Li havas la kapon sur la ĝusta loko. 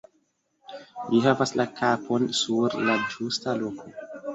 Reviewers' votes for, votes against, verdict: 2, 0, accepted